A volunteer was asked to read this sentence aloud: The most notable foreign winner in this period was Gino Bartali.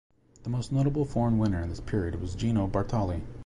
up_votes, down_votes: 2, 0